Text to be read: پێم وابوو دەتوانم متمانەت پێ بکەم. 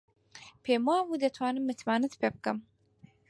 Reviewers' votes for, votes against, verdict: 4, 0, accepted